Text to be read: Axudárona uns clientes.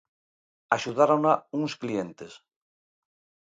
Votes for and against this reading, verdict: 2, 0, accepted